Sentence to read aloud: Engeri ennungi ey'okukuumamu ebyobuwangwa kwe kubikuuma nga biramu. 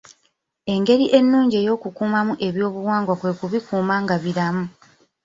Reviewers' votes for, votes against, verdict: 1, 2, rejected